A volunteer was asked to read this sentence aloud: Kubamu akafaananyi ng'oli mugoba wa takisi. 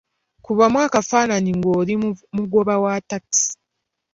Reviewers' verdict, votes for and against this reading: accepted, 2, 0